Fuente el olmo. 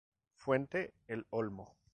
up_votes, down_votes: 2, 0